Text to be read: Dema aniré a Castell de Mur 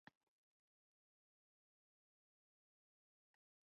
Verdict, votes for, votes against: rejected, 0, 2